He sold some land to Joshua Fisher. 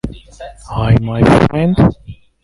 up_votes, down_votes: 0, 2